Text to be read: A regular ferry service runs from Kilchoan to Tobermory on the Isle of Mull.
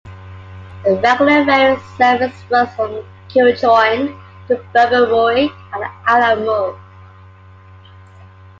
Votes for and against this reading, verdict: 0, 2, rejected